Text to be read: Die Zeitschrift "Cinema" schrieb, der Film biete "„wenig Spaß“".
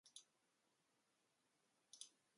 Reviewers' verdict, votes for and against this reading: rejected, 0, 2